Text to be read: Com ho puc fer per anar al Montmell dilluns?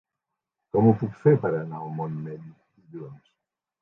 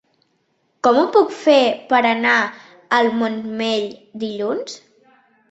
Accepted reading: second